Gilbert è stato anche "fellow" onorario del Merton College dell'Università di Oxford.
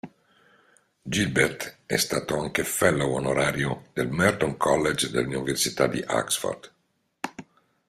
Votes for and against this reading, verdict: 1, 2, rejected